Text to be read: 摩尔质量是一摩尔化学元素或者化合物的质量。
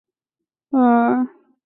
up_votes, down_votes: 1, 2